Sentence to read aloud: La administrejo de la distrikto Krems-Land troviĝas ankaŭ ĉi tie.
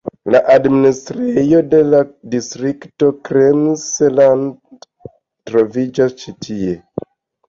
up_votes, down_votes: 2, 1